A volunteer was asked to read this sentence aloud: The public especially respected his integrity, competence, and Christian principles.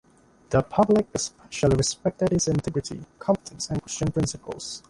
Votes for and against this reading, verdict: 1, 2, rejected